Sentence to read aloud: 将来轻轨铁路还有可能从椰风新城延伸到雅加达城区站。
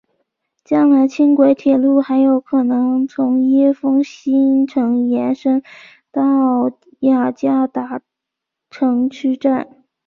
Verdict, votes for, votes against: accepted, 2, 0